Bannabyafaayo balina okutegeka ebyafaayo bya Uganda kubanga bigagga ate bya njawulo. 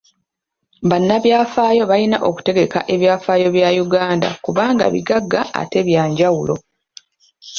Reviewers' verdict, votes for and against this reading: accepted, 2, 0